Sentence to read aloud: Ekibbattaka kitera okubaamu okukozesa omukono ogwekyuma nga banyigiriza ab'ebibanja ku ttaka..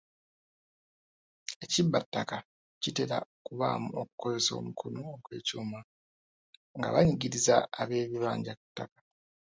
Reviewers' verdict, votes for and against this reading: accepted, 2, 1